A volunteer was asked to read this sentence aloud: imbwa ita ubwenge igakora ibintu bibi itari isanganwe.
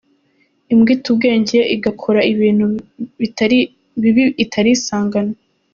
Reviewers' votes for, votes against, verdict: 1, 2, rejected